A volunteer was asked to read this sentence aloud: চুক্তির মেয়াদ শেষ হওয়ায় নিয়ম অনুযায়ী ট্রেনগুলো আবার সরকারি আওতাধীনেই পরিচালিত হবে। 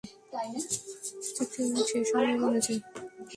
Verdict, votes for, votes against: rejected, 0, 2